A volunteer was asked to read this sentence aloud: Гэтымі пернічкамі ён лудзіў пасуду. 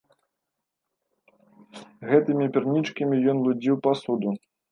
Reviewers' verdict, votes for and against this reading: rejected, 0, 2